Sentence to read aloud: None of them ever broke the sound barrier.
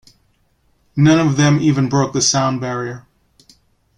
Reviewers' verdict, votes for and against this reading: rejected, 0, 2